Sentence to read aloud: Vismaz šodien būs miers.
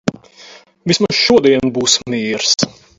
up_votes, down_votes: 4, 0